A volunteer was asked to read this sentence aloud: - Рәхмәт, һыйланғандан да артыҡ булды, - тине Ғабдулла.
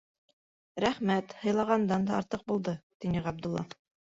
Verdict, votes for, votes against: accepted, 2, 0